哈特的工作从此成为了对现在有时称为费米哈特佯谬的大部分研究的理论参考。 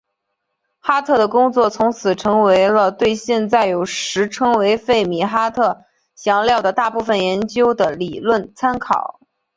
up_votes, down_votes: 1, 2